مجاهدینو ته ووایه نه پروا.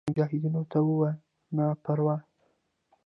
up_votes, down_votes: 2, 0